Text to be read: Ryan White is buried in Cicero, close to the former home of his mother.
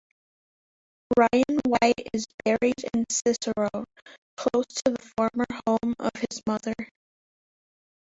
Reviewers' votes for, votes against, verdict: 2, 4, rejected